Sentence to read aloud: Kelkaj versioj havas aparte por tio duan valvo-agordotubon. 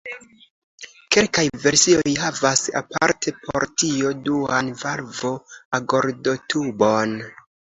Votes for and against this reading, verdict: 2, 0, accepted